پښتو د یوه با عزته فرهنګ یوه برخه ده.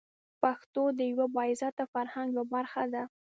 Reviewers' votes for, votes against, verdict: 1, 3, rejected